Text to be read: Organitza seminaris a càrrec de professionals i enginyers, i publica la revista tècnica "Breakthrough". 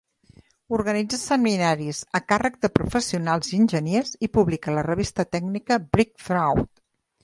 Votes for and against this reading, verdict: 0, 2, rejected